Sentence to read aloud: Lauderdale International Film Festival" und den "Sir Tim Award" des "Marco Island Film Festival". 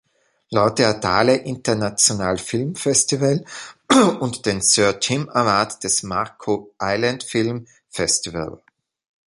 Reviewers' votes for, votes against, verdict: 0, 2, rejected